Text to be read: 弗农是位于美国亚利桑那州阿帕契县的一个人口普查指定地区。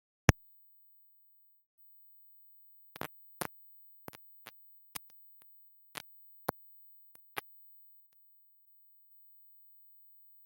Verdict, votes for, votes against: rejected, 0, 2